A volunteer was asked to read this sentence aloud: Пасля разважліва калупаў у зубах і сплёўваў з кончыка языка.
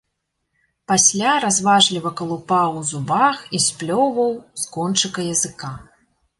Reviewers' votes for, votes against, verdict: 2, 0, accepted